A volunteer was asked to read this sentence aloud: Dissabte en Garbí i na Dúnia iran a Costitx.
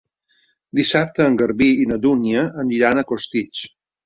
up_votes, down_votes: 2, 0